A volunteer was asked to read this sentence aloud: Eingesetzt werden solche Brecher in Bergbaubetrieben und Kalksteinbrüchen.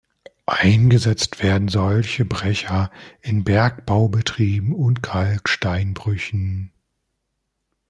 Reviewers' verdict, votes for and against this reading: rejected, 0, 2